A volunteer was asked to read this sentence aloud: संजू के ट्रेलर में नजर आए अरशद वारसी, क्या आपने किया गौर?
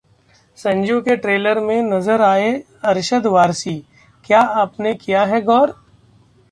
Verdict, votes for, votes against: rejected, 0, 2